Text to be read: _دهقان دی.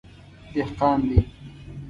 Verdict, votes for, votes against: accepted, 2, 0